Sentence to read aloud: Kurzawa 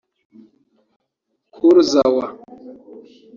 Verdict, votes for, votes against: accepted, 2, 0